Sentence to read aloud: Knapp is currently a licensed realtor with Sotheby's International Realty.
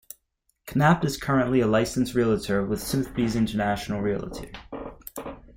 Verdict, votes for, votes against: accepted, 2, 0